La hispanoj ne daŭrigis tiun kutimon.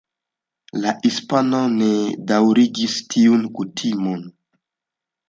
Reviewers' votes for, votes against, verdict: 2, 1, accepted